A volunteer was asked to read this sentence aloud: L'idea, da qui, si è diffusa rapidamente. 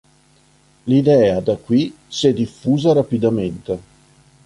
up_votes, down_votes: 2, 0